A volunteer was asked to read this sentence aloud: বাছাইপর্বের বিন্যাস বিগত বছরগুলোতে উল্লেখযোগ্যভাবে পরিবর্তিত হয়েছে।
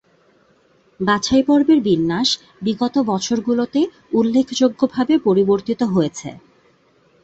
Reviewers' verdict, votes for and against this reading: accepted, 5, 0